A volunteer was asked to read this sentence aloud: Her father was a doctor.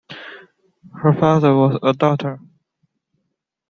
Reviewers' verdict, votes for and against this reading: accepted, 2, 1